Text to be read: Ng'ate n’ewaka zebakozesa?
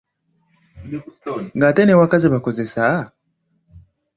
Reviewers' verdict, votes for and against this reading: accepted, 2, 0